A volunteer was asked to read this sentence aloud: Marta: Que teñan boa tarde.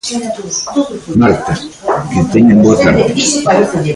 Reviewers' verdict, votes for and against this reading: rejected, 1, 2